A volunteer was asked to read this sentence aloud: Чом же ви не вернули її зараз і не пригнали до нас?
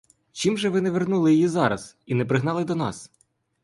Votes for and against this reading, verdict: 1, 2, rejected